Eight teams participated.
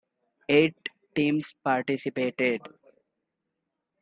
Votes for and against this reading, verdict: 2, 0, accepted